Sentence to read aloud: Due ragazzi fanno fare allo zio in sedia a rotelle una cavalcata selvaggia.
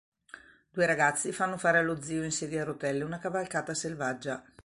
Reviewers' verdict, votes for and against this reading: accepted, 2, 0